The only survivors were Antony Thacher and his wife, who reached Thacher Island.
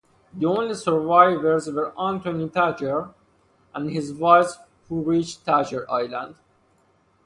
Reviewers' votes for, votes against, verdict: 2, 0, accepted